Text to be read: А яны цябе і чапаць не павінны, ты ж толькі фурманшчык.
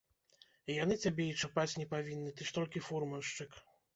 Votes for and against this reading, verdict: 1, 2, rejected